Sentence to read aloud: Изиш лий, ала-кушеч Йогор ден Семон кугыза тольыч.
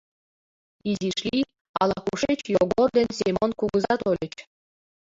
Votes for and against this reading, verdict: 0, 2, rejected